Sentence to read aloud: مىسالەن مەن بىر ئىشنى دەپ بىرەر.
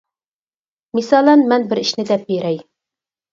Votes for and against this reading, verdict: 2, 2, rejected